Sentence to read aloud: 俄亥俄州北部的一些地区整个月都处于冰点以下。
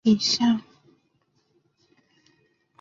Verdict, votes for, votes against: rejected, 0, 3